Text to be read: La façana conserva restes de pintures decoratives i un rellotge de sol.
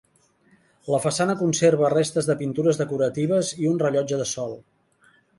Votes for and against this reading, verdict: 3, 0, accepted